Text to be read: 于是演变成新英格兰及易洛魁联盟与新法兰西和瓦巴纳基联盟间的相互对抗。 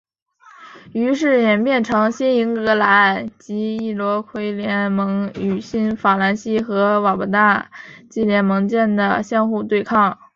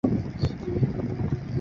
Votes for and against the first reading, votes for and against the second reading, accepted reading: 2, 0, 1, 2, first